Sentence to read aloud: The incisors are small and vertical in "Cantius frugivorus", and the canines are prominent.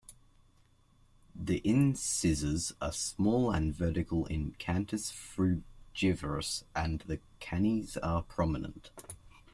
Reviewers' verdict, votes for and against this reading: rejected, 1, 2